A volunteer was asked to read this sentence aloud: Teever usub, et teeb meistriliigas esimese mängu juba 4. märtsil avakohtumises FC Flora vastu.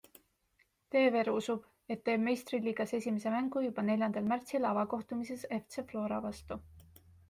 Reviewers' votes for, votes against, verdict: 0, 2, rejected